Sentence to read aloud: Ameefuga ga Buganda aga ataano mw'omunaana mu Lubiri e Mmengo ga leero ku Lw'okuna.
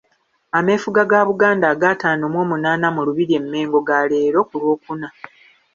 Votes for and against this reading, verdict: 2, 1, accepted